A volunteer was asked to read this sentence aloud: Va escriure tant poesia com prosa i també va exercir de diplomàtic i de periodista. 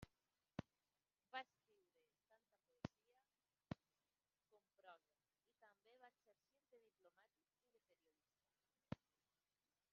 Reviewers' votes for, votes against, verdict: 0, 2, rejected